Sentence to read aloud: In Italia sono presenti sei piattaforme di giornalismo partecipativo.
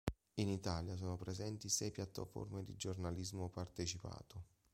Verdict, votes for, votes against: rejected, 0, 2